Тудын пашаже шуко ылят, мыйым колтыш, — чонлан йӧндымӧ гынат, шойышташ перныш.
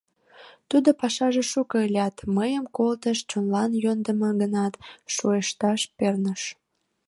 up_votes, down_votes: 0, 2